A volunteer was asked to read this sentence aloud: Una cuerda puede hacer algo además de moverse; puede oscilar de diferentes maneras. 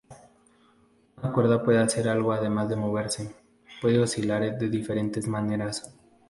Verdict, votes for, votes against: rejected, 0, 2